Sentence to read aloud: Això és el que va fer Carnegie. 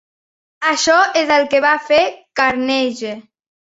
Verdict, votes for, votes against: rejected, 1, 2